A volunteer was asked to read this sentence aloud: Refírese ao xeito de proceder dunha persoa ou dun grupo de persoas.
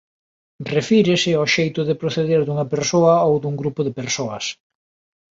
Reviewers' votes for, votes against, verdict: 2, 0, accepted